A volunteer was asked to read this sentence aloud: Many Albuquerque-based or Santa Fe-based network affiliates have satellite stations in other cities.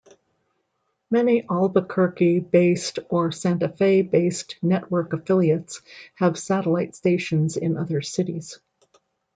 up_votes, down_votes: 2, 0